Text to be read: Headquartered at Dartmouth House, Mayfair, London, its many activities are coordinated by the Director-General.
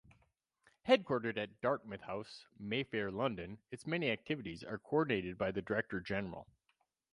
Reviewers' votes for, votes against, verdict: 2, 2, rejected